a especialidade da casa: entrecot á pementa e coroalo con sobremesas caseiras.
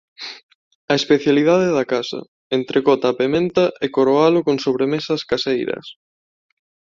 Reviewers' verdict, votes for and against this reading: accepted, 2, 0